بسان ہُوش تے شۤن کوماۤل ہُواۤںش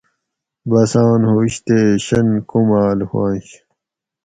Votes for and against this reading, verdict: 4, 0, accepted